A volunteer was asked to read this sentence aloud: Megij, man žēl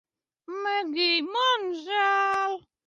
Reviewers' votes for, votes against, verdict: 2, 0, accepted